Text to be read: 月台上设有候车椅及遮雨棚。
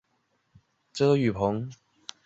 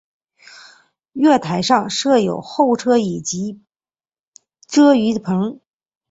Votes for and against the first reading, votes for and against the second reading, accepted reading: 1, 2, 5, 1, second